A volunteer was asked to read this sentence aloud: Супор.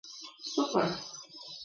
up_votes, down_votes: 1, 2